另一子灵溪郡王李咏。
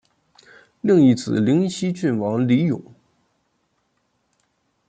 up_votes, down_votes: 2, 0